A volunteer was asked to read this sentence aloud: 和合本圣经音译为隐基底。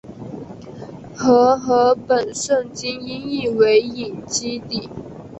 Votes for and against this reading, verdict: 3, 0, accepted